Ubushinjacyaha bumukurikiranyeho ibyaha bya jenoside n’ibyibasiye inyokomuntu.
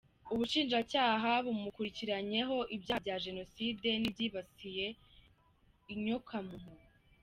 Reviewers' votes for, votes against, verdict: 1, 3, rejected